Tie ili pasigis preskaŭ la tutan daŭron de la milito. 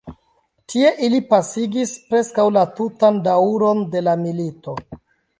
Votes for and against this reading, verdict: 1, 2, rejected